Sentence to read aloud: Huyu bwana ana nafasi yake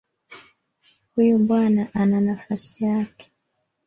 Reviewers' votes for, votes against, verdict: 3, 1, accepted